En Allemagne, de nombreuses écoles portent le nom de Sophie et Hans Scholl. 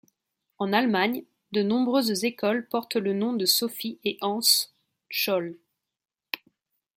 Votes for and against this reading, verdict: 1, 2, rejected